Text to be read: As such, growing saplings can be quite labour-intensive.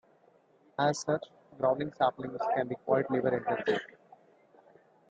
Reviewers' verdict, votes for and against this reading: rejected, 2, 3